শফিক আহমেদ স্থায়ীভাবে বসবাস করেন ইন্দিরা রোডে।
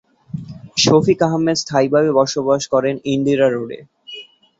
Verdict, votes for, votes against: accepted, 2, 0